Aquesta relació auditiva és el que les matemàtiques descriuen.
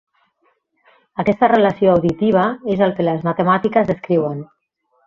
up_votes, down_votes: 3, 0